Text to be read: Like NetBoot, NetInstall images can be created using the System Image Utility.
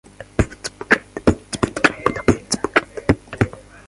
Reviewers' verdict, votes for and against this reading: rejected, 0, 2